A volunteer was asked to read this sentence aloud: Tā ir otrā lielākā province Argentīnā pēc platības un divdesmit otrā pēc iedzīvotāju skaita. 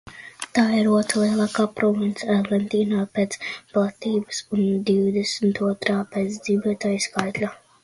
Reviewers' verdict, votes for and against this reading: rejected, 0, 2